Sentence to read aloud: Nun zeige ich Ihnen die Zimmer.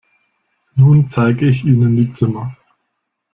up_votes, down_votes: 2, 0